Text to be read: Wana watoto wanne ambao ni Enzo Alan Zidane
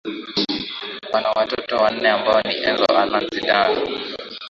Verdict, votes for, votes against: rejected, 0, 2